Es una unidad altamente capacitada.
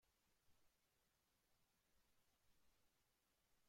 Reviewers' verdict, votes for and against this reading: rejected, 0, 2